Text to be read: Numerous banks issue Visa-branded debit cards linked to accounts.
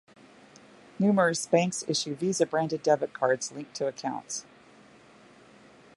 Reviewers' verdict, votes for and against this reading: accepted, 2, 0